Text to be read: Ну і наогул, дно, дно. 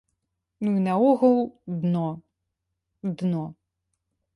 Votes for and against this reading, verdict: 2, 0, accepted